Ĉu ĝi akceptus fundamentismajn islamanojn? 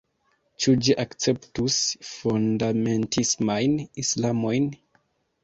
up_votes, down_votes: 1, 2